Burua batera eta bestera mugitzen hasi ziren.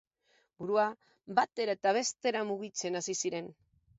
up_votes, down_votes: 2, 0